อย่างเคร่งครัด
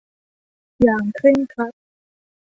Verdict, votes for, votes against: accepted, 2, 1